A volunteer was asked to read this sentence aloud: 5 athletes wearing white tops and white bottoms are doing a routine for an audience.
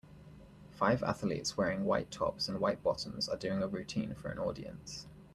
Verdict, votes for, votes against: rejected, 0, 2